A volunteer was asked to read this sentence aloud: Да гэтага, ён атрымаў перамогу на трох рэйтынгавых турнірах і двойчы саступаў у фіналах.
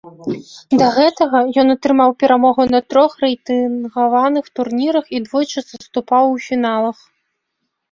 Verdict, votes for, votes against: rejected, 0, 2